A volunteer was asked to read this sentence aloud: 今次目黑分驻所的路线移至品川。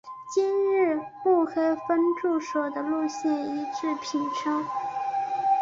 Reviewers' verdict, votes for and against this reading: rejected, 0, 3